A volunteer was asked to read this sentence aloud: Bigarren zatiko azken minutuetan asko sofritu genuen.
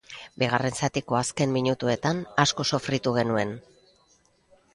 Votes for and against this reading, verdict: 0, 2, rejected